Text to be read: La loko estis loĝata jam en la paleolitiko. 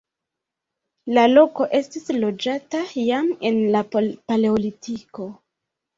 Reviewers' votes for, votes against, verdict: 0, 2, rejected